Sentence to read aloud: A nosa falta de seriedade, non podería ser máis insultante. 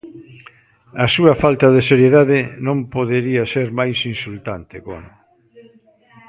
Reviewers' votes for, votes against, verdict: 0, 2, rejected